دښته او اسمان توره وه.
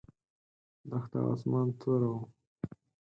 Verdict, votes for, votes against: rejected, 0, 4